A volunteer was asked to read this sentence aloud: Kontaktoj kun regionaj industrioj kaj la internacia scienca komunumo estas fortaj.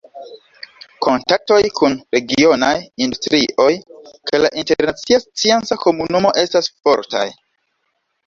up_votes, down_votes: 2, 0